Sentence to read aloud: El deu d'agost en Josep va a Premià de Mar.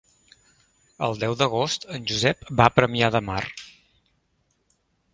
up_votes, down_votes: 3, 0